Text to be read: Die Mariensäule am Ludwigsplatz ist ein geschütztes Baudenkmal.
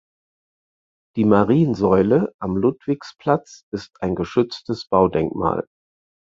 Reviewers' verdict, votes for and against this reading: accepted, 4, 0